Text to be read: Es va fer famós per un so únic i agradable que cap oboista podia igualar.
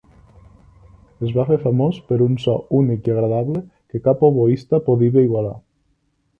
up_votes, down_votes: 2, 3